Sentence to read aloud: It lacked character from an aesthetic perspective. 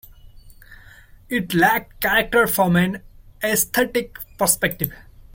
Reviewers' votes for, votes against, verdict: 1, 2, rejected